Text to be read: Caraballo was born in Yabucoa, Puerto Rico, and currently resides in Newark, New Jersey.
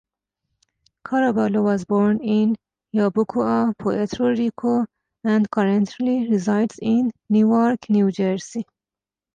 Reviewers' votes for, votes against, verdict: 2, 0, accepted